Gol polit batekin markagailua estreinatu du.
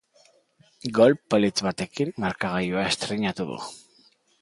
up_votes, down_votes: 2, 0